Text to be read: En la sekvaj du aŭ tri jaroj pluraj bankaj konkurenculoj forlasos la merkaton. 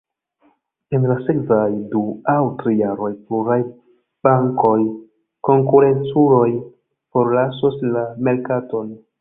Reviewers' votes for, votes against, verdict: 0, 2, rejected